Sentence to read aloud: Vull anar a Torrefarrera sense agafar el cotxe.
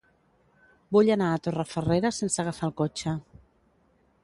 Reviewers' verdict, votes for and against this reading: accepted, 2, 0